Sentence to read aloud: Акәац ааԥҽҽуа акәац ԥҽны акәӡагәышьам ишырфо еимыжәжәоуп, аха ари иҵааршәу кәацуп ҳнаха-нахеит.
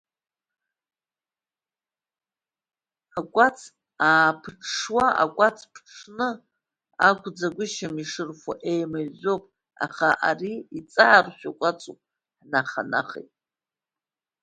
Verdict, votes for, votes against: accepted, 2, 0